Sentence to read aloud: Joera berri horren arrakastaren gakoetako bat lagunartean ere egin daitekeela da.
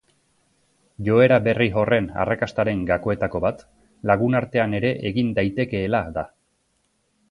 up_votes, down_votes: 4, 0